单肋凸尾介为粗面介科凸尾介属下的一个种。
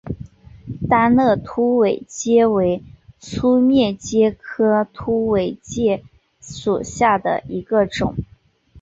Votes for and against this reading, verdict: 0, 2, rejected